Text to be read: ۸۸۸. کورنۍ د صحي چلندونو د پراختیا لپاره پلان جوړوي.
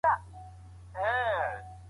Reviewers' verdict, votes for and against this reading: rejected, 0, 2